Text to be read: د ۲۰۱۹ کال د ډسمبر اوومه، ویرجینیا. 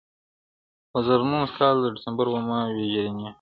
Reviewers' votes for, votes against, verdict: 0, 2, rejected